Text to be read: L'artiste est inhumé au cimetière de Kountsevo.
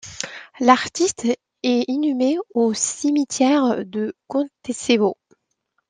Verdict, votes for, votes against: rejected, 1, 2